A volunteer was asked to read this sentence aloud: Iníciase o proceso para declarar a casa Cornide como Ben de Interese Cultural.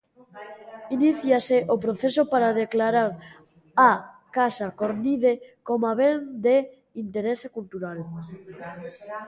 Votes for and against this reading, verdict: 0, 2, rejected